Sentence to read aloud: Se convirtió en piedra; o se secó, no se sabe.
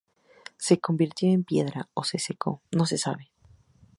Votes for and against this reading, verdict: 6, 0, accepted